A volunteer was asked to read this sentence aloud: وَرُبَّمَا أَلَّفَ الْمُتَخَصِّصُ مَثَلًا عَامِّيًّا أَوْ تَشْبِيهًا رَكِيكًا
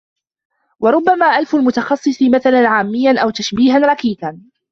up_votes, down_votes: 0, 2